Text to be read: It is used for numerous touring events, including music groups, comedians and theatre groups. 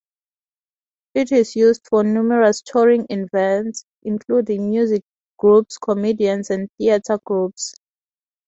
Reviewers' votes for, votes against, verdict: 4, 0, accepted